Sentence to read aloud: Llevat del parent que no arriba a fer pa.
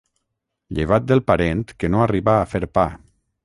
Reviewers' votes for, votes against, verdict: 3, 3, rejected